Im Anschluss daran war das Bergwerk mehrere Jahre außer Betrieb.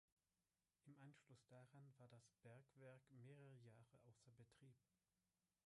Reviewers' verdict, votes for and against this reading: rejected, 1, 3